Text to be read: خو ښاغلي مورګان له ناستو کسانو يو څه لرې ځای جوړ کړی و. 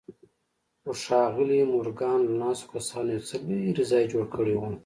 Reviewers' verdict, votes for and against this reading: accepted, 2, 0